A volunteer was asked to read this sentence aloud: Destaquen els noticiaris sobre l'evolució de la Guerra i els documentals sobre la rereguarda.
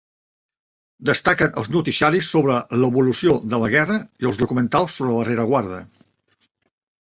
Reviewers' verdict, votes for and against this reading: rejected, 0, 2